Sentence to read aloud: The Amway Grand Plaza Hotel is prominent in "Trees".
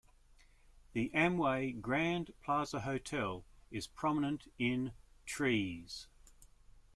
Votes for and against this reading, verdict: 2, 0, accepted